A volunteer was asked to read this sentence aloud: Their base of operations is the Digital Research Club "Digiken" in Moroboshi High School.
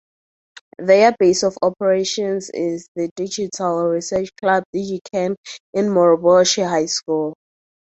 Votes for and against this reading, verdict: 4, 0, accepted